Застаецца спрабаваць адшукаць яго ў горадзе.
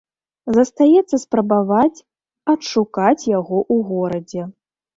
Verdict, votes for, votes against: rejected, 1, 2